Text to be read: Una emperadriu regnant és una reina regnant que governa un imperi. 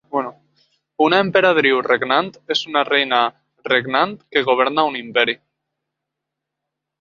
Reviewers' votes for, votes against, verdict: 2, 1, accepted